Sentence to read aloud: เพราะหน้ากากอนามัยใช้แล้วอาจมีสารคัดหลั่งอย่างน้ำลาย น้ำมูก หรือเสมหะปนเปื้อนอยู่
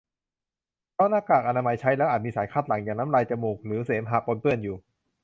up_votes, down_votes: 0, 2